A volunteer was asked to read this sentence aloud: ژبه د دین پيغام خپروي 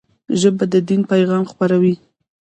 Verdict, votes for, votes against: rejected, 1, 2